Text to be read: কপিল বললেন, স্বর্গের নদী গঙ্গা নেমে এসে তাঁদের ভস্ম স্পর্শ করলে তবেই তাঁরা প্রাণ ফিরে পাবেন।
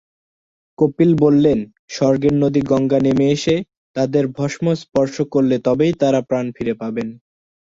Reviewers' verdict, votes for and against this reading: accepted, 2, 0